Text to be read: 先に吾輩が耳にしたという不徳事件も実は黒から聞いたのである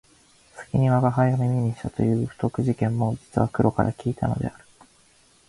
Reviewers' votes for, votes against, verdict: 2, 1, accepted